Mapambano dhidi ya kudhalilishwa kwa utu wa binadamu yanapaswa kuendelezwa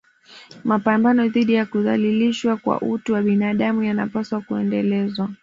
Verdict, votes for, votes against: rejected, 1, 2